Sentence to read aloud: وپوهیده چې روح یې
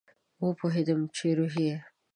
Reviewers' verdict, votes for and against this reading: rejected, 1, 2